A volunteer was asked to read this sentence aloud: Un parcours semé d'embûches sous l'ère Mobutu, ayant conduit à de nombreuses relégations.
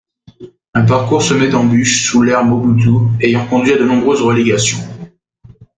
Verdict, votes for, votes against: accepted, 2, 1